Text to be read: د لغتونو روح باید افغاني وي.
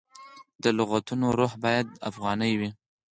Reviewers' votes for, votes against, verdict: 2, 4, rejected